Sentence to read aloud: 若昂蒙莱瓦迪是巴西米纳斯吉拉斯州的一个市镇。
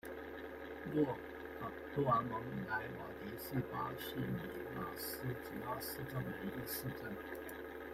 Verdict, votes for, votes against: rejected, 0, 2